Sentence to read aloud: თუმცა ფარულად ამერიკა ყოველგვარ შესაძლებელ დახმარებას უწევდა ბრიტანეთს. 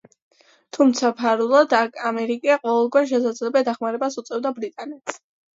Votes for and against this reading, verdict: 2, 1, accepted